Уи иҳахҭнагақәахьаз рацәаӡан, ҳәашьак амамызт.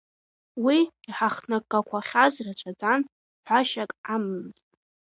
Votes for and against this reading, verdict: 2, 0, accepted